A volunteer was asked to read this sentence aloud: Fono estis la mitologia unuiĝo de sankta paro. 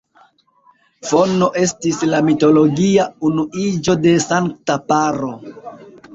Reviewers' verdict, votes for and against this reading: accepted, 2, 0